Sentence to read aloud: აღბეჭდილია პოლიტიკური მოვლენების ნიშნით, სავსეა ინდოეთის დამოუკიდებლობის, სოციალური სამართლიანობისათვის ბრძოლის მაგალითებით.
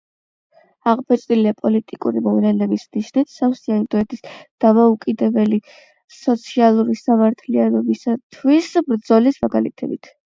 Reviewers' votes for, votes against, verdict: 0, 8, rejected